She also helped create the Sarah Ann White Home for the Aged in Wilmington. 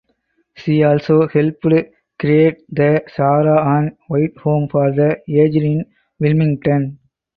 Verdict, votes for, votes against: rejected, 0, 4